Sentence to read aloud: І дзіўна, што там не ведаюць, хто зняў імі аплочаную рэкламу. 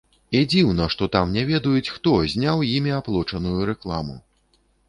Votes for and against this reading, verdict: 2, 0, accepted